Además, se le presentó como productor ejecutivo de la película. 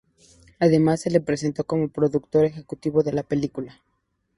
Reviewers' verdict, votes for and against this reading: accepted, 2, 0